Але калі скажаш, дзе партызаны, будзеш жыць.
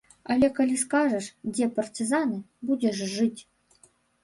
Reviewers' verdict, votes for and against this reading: rejected, 1, 2